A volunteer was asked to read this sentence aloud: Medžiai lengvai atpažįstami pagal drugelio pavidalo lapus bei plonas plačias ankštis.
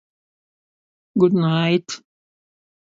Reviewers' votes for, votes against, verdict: 0, 3, rejected